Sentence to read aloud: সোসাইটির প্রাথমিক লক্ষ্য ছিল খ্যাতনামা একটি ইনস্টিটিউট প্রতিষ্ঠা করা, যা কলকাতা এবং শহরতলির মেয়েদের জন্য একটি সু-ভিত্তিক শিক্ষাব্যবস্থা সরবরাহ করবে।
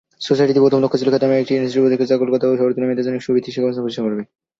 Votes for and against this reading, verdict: 2, 6, rejected